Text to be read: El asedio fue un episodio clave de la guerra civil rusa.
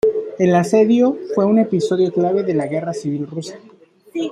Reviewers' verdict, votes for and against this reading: rejected, 1, 2